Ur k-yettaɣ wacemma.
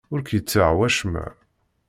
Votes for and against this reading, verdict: 2, 0, accepted